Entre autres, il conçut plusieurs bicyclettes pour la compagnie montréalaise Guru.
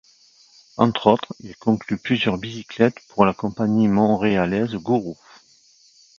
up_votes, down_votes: 0, 2